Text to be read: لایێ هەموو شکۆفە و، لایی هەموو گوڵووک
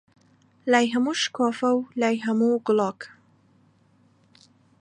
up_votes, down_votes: 0, 2